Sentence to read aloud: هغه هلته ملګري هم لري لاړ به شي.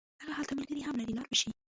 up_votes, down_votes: 1, 2